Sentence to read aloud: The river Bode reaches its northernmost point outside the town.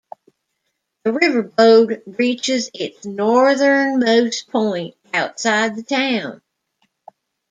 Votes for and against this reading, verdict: 2, 1, accepted